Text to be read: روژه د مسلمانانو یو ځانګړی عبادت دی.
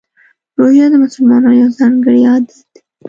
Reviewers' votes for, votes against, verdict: 1, 2, rejected